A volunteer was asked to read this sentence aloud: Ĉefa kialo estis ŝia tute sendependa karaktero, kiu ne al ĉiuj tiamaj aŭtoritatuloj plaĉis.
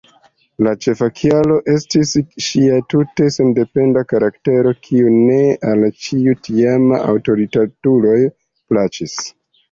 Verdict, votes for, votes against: rejected, 1, 2